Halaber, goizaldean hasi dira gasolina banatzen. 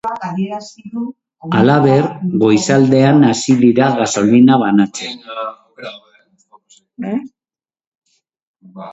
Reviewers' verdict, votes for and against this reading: accepted, 2, 0